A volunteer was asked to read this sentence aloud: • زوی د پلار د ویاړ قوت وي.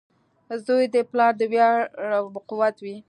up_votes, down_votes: 1, 2